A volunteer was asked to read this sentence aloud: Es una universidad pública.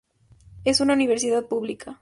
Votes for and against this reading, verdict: 2, 0, accepted